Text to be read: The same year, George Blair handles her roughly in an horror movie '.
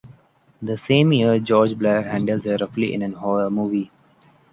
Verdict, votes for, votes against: rejected, 1, 2